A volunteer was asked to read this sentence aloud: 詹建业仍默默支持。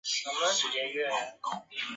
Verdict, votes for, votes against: rejected, 0, 2